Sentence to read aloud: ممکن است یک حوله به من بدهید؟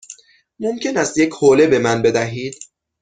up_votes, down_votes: 6, 0